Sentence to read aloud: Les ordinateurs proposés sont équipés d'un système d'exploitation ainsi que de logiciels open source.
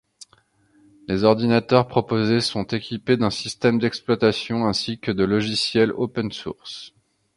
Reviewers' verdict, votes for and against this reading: accepted, 2, 0